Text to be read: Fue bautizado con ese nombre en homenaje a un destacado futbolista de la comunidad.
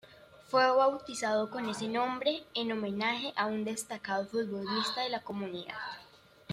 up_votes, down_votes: 2, 0